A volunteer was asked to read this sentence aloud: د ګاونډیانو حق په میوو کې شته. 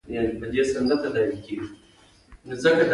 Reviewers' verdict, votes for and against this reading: accepted, 2, 1